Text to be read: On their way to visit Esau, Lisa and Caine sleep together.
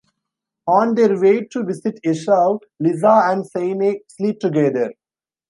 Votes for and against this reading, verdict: 1, 2, rejected